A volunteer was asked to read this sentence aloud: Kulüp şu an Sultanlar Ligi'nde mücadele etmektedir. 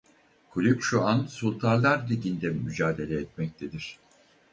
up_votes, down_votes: 2, 2